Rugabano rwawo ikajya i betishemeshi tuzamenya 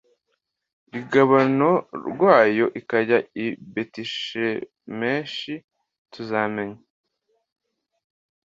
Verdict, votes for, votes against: accepted, 2, 1